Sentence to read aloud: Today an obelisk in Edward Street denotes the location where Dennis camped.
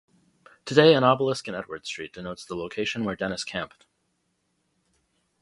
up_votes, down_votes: 2, 0